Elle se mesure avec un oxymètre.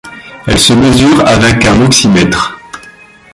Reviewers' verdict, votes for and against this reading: accepted, 2, 0